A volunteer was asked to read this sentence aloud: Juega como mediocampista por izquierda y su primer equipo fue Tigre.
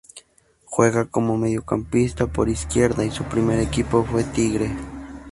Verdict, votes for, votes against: accepted, 4, 0